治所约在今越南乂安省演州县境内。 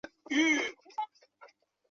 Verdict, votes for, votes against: rejected, 0, 3